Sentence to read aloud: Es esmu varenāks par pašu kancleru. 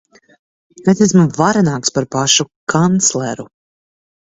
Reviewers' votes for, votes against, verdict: 2, 0, accepted